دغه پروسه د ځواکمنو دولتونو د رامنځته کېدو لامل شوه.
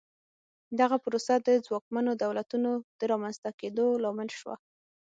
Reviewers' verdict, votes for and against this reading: accepted, 6, 0